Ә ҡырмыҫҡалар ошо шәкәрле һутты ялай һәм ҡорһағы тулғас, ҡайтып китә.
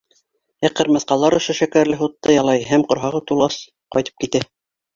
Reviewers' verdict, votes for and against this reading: accepted, 4, 0